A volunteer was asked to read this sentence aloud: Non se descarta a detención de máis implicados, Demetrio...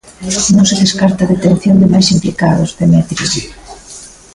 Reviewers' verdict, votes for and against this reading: rejected, 0, 2